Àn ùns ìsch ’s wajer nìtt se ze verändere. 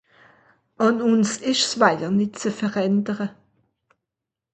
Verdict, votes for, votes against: accepted, 2, 0